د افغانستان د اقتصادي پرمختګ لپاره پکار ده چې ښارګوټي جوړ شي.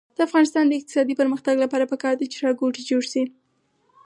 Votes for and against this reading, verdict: 2, 4, rejected